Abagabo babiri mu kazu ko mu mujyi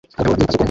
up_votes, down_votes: 0, 2